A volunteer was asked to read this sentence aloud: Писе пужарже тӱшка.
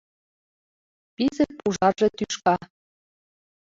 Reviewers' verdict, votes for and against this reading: rejected, 1, 2